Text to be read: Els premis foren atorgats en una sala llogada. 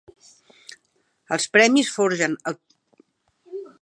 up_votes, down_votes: 0, 2